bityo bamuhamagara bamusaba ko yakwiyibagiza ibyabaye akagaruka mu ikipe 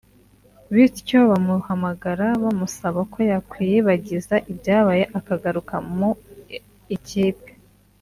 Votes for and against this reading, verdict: 2, 0, accepted